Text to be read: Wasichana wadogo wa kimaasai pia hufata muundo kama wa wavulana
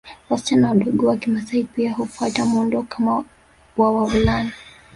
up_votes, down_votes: 2, 3